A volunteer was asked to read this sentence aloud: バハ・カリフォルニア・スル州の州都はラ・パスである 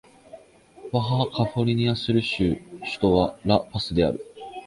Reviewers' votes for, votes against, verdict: 0, 2, rejected